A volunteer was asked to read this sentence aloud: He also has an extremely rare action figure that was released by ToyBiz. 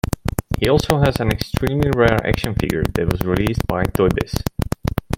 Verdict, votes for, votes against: rejected, 0, 2